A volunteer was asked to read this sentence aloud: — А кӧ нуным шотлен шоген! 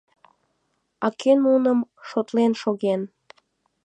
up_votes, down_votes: 2, 0